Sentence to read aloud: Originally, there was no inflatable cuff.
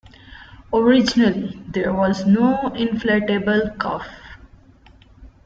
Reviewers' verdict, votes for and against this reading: accepted, 2, 0